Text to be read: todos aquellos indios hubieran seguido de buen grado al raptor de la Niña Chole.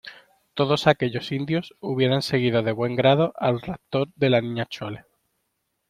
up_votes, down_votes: 2, 0